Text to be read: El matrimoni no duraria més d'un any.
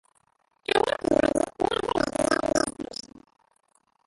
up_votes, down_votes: 0, 2